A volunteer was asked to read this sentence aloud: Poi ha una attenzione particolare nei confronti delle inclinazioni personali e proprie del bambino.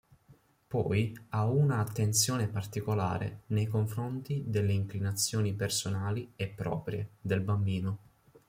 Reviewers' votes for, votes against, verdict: 2, 0, accepted